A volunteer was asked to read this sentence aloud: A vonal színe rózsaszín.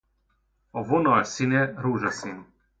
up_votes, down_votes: 2, 0